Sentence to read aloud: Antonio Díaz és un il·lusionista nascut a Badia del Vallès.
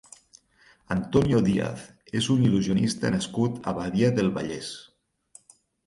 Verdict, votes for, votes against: rejected, 2, 4